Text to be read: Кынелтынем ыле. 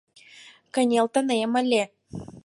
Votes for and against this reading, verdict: 4, 0, accepted